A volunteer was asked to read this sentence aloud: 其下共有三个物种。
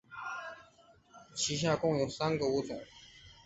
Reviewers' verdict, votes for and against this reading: accepted, 2, 0